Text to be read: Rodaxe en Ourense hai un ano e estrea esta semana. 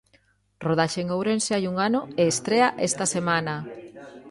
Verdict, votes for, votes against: accepted, 2, 1